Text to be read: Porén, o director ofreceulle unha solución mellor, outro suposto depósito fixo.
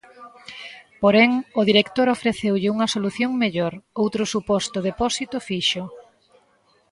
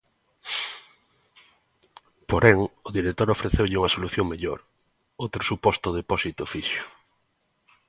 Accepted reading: second